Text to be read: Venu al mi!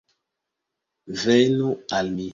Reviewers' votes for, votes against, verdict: 2, 0, accepted